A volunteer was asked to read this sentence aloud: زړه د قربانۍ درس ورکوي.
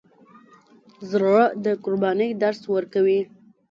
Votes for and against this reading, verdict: 1, 2, rejected